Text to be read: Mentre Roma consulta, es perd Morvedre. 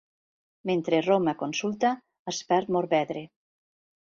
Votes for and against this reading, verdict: 2, 0, accepted